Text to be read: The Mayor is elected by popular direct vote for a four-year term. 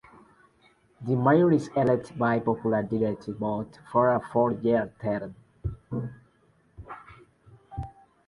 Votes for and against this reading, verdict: 2, 0, accepted